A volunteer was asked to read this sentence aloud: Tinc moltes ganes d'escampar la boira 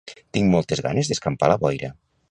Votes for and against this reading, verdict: 2, 0, accepted